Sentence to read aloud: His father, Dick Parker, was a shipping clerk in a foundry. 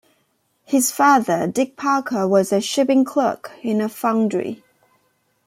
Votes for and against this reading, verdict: 2, 0, accepted